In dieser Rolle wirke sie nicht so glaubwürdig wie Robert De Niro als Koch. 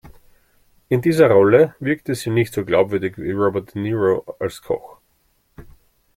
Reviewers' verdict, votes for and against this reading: rejected, 0, 2